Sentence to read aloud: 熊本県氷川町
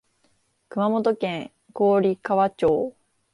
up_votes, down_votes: 2, 1